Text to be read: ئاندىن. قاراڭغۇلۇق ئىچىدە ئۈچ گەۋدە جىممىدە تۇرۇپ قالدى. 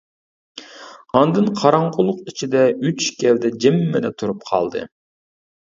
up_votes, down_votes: 2, 1